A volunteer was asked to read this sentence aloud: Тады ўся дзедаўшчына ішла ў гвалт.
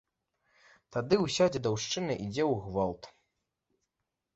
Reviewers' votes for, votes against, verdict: 2, 3, rejected